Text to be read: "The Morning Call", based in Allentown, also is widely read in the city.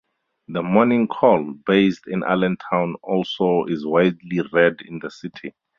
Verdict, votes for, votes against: accepted, 4, 0